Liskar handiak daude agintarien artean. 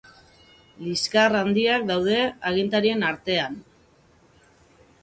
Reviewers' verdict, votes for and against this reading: accepted, 6, 0